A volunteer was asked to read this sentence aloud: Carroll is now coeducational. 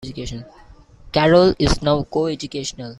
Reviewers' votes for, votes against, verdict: 1, 2, rejected